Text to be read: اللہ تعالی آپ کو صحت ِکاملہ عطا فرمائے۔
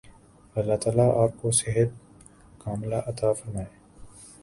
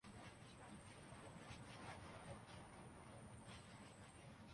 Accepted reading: first